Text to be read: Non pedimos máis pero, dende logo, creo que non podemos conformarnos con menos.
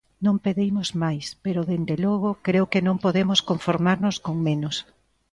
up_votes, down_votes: 2, 0